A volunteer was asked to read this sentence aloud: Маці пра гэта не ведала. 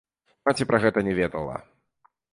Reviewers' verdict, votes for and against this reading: accepted, 2, 0